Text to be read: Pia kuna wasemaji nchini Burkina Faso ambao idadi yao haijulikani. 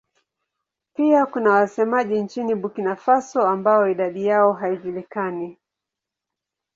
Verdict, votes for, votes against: accepted, 9, 1